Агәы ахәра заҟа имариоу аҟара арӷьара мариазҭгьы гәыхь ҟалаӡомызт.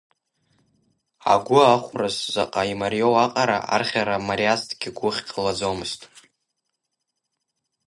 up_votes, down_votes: 0, 2